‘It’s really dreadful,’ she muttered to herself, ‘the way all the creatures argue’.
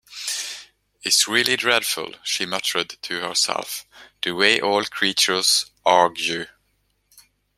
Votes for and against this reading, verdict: 0, 2, rejected